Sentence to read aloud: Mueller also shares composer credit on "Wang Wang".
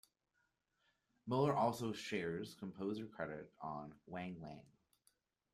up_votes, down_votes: 2, 0